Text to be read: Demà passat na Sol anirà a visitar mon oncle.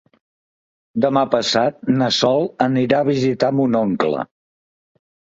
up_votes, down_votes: 4, 0